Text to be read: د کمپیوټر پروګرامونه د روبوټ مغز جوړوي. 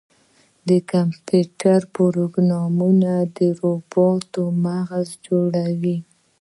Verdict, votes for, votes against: accepted, 3, 0